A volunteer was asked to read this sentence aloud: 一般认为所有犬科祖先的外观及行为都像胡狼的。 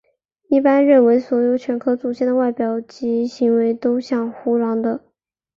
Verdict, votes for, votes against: rejected, 1, 2